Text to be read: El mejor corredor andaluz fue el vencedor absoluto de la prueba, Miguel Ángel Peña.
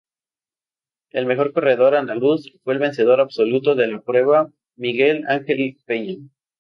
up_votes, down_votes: 0, 2